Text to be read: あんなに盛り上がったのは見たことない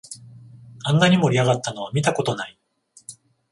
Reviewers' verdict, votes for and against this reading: rejected, 0, 14